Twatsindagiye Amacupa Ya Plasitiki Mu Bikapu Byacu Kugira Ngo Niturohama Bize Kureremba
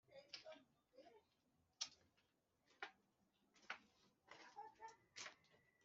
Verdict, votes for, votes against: rejected, 1, 2